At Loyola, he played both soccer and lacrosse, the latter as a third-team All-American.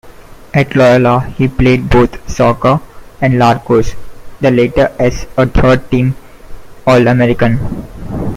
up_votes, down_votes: 2, 1